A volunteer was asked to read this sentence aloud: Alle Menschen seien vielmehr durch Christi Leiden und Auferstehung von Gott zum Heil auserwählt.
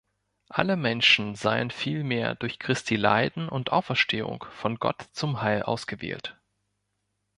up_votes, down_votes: 0, 2